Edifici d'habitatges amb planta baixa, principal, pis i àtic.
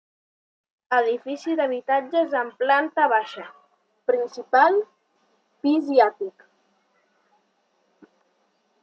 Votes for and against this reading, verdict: 3, 0, accepted